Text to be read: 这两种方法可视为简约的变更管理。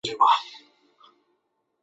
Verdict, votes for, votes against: rejected, 0, 2